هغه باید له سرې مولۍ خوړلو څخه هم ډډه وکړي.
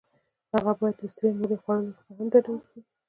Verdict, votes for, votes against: rejected, 0, 2